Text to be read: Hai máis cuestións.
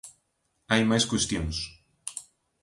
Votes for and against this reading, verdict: 2, 0, accepted